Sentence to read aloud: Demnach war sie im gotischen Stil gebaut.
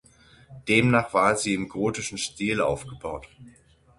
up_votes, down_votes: 0, 6